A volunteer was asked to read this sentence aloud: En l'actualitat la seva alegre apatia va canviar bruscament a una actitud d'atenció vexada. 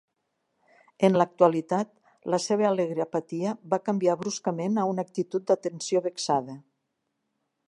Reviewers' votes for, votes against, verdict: 2, 0, accepted